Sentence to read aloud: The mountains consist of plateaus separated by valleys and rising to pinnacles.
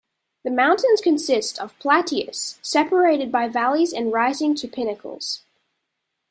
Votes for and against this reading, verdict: 0, 2, rejected